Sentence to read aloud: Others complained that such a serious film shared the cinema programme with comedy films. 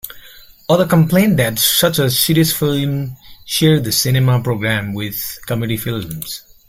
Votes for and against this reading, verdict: 2, 1, accepted